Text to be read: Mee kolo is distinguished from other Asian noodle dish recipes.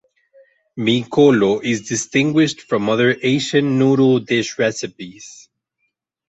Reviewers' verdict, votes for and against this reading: accepted, 4, 0